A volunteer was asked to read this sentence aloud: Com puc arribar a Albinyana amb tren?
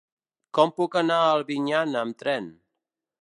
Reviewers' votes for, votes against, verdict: 0, 2, rejected